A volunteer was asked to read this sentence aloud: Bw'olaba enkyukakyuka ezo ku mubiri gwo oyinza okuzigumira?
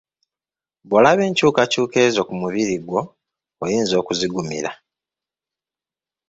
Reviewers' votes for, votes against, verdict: 1, 2, rejected